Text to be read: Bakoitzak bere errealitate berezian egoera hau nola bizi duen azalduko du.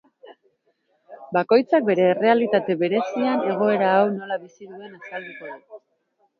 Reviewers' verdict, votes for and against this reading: rejected, 0, 2